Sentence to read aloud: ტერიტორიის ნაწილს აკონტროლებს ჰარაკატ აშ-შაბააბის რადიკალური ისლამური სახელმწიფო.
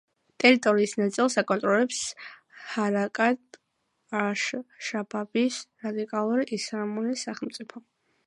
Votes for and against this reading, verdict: 0, 2, rejected